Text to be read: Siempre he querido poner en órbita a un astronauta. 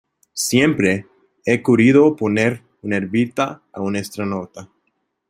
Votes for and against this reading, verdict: 0, 2, rejected